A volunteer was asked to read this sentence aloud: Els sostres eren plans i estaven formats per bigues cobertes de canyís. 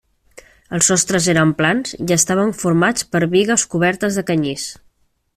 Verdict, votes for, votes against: accepted, 3, 0